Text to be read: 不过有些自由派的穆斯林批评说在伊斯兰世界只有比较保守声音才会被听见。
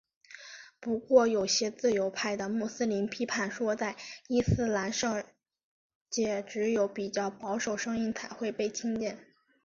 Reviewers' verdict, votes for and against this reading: accepted, 6, 3